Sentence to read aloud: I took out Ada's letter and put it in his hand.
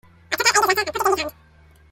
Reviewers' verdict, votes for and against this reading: rejected, 0, 2